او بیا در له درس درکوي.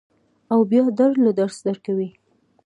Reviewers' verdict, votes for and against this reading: rejected, 1, 2